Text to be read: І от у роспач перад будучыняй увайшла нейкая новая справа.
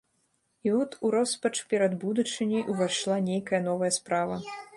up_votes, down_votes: 1, 2